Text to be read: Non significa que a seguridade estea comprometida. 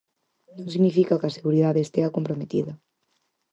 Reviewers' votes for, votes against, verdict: 4, 0, accepted